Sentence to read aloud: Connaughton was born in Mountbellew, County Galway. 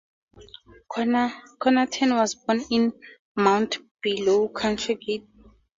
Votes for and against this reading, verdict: 0, 2, rejected